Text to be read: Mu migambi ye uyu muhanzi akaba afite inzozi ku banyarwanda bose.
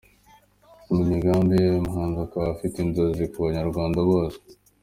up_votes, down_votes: 2, 0